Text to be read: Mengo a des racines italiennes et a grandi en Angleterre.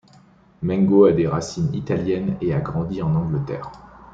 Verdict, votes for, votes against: rejected, 1, 2